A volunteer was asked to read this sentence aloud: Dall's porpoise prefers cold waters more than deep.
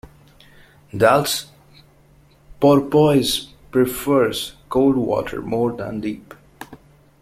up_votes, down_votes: 0, 2